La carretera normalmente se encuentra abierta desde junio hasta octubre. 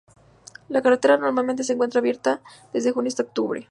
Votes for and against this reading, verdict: 2, 0, accepted